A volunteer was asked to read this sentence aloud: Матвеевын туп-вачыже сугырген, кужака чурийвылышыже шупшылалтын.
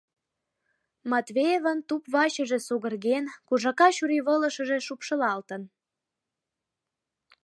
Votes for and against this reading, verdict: 2, 0, accepted